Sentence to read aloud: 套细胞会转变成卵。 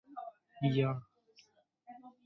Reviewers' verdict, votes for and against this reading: rejected, 0, 3